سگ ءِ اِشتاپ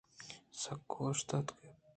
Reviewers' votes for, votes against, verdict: 2, 0, accepted